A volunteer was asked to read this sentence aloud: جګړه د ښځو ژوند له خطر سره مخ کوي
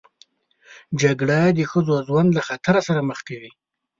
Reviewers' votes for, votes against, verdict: 2, 0, accepted